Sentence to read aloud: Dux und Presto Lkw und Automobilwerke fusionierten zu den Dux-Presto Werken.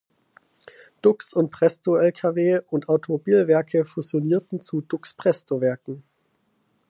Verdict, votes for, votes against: rejected, 0, 4